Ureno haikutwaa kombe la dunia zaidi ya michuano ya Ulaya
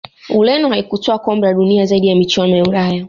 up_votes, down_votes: 2, 0